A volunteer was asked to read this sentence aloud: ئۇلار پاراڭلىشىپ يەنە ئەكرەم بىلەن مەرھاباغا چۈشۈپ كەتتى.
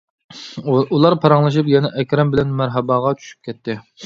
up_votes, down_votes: 1, 2